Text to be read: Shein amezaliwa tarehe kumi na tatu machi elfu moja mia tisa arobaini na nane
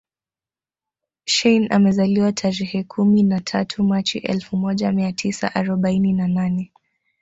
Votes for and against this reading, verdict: 3, 1, accepted